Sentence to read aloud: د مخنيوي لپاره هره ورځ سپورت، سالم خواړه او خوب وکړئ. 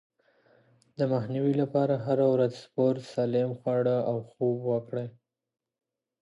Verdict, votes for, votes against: accepted, 2, 0